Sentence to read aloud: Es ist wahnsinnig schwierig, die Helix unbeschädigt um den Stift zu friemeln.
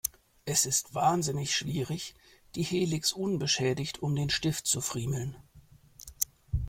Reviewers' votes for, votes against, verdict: 2, 0, accepted